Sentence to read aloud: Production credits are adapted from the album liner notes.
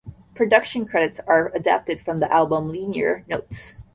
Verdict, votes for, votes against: rejected, 1, 2